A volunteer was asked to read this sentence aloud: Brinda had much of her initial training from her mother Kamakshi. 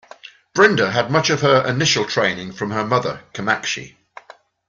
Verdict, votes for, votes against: accepted, 2, 0